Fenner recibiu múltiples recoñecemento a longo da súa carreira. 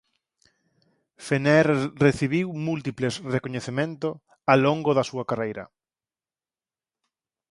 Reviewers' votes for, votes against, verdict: 4, 2, accepted